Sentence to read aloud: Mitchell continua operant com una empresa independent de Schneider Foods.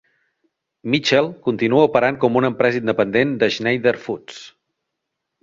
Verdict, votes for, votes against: accepted, 2, 0